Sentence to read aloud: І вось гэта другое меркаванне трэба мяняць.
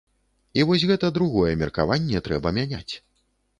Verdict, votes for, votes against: accepted, 2, 0